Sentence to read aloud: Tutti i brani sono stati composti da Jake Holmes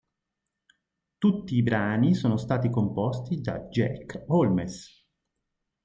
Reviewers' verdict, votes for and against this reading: rejected, 1, 2